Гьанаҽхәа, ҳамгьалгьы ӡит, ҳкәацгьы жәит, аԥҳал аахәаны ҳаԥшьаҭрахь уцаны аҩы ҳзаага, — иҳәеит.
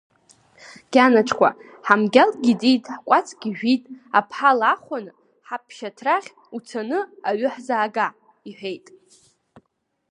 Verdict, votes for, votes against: rejected, 1, 2